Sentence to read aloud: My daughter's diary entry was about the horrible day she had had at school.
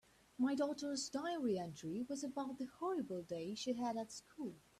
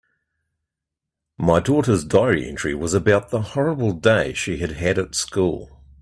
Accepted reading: second